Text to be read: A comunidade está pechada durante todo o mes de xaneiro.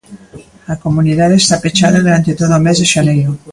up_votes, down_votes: 3, 0